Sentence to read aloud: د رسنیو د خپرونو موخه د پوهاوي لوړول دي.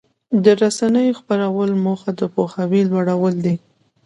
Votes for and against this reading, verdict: 2, 0, accepted